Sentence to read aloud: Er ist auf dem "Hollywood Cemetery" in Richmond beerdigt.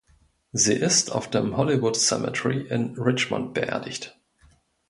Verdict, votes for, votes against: rejected, 1, 2